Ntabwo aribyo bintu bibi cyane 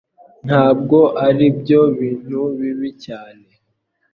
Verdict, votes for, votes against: accepted, 2, 0